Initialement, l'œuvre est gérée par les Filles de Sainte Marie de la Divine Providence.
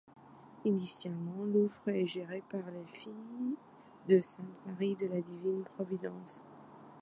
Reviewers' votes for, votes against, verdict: 1, 2, rejected